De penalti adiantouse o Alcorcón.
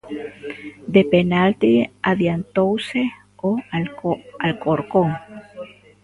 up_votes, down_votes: 1, 2